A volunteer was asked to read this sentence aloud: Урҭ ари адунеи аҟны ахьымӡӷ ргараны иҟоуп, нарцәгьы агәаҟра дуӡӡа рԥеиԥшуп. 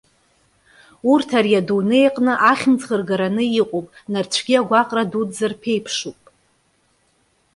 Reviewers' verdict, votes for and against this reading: accepted, 2, 0